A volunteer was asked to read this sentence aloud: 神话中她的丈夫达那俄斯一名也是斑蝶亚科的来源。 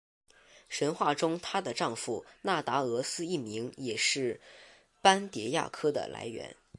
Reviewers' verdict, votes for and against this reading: accepted, 3, 1